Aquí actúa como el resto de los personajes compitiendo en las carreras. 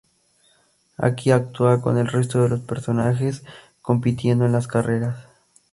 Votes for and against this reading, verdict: 2, 2, rejected